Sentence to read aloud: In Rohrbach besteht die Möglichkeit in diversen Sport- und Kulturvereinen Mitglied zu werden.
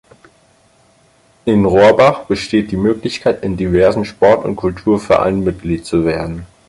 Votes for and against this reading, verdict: 4, 2, accepted